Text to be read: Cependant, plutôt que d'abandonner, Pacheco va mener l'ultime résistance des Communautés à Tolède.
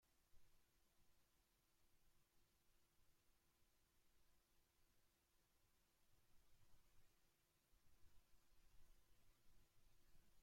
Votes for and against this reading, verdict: 0, 2, rejected